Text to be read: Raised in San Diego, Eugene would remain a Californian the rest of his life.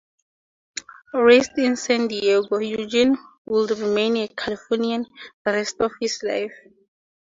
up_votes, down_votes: 4, 2